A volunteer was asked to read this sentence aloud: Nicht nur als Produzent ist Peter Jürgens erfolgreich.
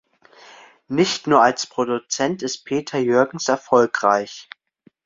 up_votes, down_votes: 2, 0